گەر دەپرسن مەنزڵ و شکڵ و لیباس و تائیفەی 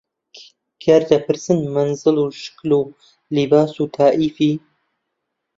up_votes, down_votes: 0, 2